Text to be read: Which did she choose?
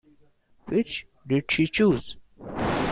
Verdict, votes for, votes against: accepted, 3, 1